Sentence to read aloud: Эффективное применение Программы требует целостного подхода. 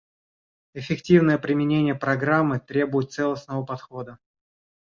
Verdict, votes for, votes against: accepted, 2, 0